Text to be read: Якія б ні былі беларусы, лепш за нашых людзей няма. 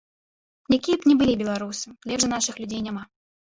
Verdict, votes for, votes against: rejected, 0, 2